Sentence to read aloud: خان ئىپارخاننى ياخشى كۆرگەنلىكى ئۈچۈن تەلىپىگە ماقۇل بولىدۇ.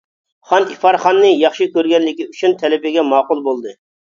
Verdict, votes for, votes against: rejected, 0, 2